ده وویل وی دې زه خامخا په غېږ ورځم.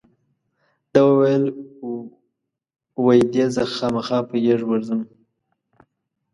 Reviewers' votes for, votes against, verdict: 0, 2, rejected